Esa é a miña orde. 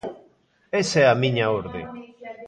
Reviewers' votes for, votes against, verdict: 2, 0, accepted